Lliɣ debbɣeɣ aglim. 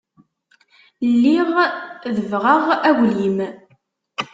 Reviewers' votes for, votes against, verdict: 2, 0, accepted